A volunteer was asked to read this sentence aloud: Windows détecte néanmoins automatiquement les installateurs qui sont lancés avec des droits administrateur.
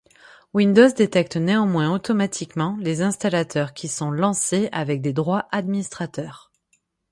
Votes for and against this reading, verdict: 6, 0, accepted